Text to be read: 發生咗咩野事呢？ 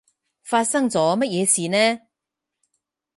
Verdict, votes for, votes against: rejected, 2, 4